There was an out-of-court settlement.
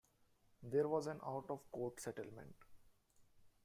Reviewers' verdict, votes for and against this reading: accepted, 2, 1